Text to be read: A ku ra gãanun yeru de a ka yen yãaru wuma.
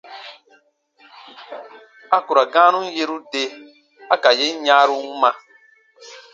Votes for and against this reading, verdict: 2, 0, accepted